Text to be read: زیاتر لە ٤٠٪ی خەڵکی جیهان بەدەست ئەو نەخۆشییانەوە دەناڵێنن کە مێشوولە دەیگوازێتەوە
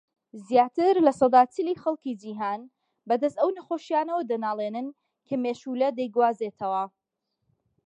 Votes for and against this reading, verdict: 0, 2, rejected